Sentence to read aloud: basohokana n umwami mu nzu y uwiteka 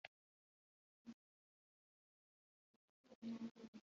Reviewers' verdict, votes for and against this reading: rejected, 0, 2